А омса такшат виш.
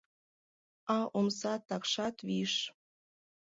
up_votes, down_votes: 1, 2